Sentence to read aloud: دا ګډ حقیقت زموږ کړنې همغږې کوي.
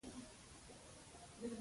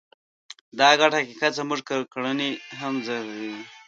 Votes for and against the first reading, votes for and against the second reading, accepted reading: 2, 1, 1, 2, first